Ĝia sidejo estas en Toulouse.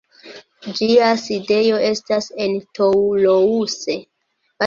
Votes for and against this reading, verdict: 2, 0, accepted